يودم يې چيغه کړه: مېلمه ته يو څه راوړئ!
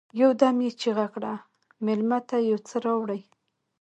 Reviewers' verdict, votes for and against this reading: rejected, 0, 2